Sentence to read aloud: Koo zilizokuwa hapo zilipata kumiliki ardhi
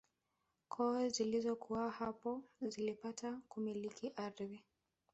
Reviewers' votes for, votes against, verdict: 1, 2, rejected